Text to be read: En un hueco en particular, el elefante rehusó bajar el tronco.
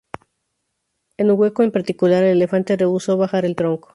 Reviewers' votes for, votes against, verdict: 2, 2, rejected